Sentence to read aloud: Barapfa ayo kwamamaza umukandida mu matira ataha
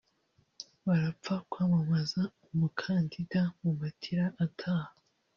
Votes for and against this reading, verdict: 1, 3, rejected